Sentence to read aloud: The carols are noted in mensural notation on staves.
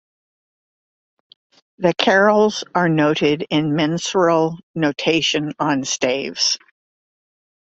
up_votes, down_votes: 2, 0